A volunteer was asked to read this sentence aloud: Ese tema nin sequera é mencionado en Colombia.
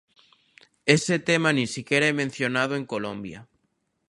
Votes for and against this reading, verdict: 2, 1, accepted